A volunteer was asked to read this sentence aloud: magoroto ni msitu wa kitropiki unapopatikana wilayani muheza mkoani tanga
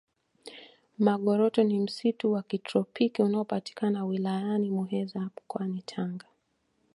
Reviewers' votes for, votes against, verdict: 2, 0, accepted